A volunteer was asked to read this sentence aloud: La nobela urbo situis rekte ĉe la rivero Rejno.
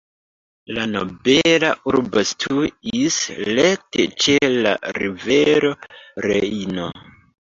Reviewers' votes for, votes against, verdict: 1, 2, rejected